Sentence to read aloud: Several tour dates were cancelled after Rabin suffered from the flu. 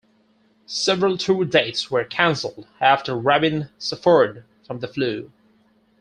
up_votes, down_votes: 4, 2